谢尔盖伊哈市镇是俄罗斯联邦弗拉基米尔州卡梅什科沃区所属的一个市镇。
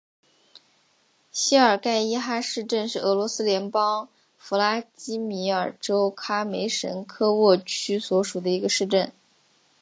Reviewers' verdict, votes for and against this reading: accepted, 5, 1